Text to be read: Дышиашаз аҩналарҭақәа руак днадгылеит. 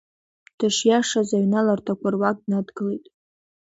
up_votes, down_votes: 1, 2